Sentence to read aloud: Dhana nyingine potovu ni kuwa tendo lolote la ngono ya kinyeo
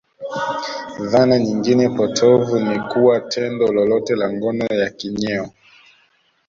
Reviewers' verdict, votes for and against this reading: accepted, 2, 0